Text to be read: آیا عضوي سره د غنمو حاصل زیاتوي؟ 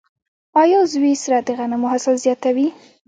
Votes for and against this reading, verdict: 0, 2, rejected